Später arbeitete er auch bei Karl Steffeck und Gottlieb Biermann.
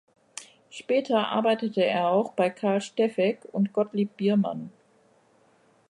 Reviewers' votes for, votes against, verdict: 2, 0, accepted